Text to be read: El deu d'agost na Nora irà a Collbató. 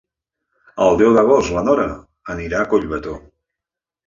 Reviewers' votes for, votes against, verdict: 0, 2, rejected